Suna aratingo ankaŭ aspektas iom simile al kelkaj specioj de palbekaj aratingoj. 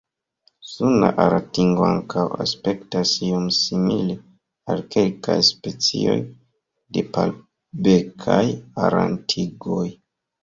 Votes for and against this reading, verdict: 0, 2, rejected